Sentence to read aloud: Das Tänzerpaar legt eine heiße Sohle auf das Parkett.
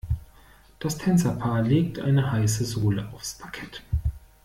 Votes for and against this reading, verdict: 1, 2, rejected